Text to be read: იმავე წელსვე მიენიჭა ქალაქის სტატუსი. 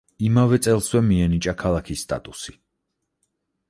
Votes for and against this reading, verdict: 4, 0, accepted